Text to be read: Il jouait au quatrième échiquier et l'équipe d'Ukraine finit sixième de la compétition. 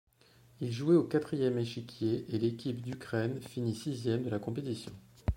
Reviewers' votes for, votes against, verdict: 2, 0, accepted